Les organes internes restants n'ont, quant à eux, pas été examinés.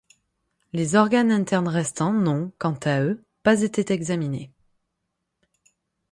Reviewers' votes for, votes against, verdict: 3, 6, rejected